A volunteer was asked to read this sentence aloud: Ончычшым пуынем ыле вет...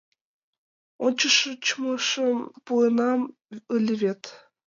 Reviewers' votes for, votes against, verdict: 0, 2, rejected